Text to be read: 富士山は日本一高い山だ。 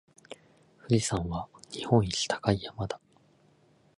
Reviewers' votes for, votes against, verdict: 2, 2, rejected